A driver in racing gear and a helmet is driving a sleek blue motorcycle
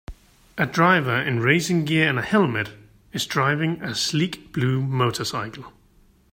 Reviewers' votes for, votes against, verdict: 2, 1, accepted